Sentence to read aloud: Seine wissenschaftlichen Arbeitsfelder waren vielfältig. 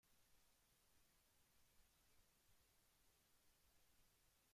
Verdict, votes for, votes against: rejected, 0, 2